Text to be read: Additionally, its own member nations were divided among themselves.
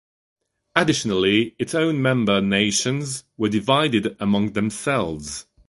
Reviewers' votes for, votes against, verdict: 2, 0, accepted